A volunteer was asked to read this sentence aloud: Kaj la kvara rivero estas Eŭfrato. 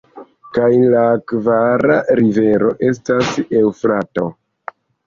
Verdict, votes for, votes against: accepted, 2, 0